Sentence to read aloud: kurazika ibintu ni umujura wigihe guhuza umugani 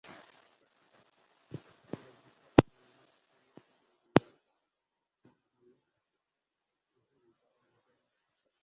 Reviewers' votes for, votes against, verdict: 1, 2, rejected